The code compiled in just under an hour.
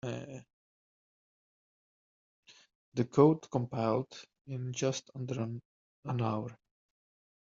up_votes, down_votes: 0, 2